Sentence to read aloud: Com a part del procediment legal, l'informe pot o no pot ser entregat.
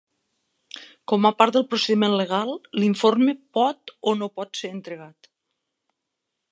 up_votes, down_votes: 3, 0